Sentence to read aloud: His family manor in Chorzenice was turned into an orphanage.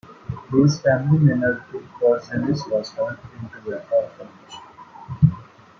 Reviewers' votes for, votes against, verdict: 0, 2, rejected